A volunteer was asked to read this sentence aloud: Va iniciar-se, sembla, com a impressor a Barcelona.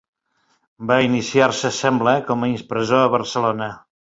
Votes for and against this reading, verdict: 3, 1, accepted